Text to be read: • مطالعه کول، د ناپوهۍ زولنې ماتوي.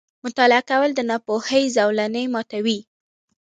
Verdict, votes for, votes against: accepted, 2, 1